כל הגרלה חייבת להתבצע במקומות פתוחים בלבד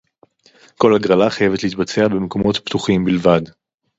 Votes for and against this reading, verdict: 4, 2, accepted